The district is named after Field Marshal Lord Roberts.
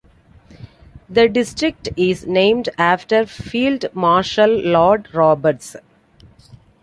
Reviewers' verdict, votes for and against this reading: accepted, 2, 0